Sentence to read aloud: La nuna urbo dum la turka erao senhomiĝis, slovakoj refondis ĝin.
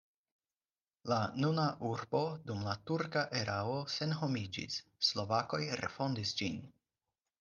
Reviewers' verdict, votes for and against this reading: accepted, 4, 0